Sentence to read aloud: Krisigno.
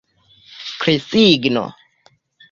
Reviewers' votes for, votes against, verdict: 2, 0, accepted